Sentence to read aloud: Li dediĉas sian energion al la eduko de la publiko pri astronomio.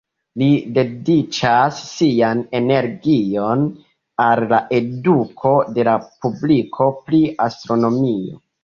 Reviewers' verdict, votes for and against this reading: rejected, 1, 2